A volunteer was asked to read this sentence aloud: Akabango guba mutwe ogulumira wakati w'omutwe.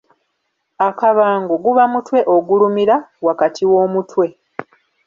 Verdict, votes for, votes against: accepted, 2, 0